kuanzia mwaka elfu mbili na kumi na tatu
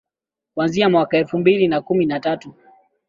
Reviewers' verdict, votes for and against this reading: accepted, 2, 1